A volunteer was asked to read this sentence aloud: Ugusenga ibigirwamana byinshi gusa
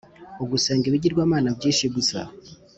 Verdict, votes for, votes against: accepted, 2, 0